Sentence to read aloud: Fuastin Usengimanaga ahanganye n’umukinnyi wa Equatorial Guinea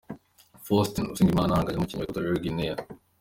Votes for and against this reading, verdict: 1, 2, rejected